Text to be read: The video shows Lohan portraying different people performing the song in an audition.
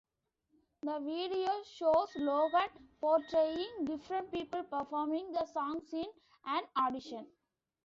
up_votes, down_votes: 0, 2